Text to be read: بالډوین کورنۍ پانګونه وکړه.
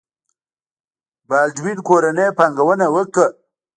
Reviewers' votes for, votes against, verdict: 0, 2, rejected